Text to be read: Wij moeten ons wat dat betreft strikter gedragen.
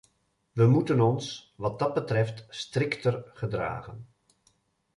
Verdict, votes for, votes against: accepted, 2, 0